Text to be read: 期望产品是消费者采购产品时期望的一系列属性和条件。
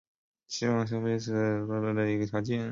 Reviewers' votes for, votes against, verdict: 0, 2, rejected